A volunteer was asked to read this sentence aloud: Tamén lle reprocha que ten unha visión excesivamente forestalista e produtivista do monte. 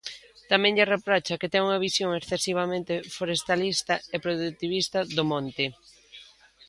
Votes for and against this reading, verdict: 2, 0, accepted